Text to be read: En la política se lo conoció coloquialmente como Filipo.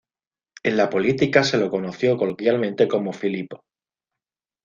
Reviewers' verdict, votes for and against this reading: accepted, 2, 0